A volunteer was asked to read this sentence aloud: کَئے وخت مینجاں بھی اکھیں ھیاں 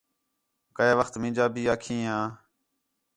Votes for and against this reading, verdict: 4, 0, accepted